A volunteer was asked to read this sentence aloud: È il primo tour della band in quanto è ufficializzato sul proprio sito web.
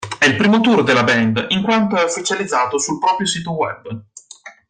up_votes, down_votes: 1, 2